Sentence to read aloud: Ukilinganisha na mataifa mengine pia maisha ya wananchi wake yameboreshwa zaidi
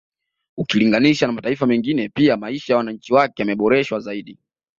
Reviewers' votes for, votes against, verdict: 2, 0, accepted